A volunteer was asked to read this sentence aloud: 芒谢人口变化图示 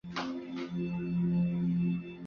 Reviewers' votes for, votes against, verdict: 0, 2, rejected